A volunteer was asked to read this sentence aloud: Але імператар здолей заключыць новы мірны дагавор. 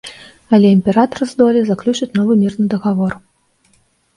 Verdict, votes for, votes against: rejected, 1, 2